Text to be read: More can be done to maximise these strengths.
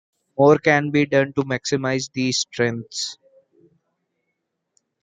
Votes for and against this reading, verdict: 2, 0, accepted